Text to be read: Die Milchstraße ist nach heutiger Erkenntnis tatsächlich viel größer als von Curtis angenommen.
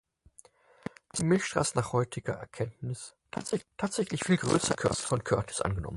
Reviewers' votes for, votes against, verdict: 0, 4, rejected